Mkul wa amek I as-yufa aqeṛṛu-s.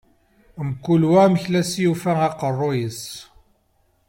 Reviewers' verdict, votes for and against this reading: accepted, 2, 1